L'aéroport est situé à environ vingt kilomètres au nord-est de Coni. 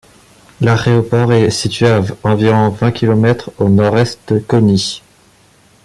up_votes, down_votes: 0, 2